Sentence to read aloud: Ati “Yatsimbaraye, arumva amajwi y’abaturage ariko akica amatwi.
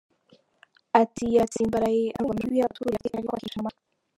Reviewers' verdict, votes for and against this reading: rejected, 0, 2